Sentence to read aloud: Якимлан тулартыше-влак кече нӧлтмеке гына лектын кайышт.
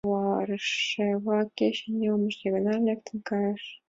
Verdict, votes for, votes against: rejected, 0, 2